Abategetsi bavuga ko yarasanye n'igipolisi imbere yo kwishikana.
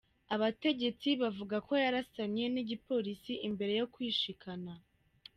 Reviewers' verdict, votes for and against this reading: rejected, 1, 2